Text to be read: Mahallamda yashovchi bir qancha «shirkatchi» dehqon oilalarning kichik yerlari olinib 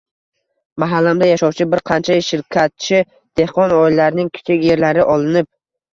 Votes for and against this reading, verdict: 1, 2, rejected